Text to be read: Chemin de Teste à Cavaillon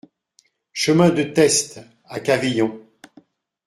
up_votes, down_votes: 1, 2